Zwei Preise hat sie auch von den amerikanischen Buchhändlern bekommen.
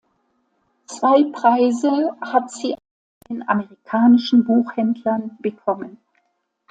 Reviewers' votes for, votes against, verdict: 0, 2, rejected